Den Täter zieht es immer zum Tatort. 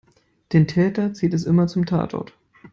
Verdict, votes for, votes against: accepted, 2, 0